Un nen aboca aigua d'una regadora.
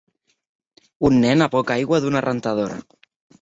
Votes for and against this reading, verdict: 0, 2, rejected